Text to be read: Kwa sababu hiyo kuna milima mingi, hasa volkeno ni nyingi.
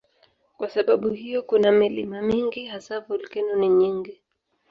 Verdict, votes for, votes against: accepted, 4, 0